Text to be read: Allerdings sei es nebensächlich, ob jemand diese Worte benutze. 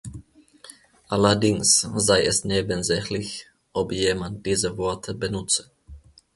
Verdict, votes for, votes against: accepted, 2, 0